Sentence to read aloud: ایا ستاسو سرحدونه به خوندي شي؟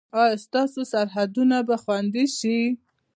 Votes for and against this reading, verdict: 2, 0, accepted